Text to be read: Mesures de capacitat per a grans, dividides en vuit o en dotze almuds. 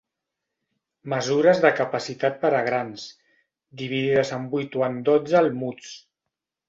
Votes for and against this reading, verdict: 3, 0, accepted